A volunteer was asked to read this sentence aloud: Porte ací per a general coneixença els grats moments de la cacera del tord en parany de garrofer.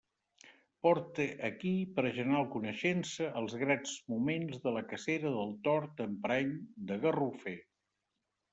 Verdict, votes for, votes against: rejected, 1, 2